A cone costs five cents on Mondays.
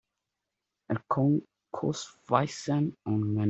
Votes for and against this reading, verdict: 0, 2, rejected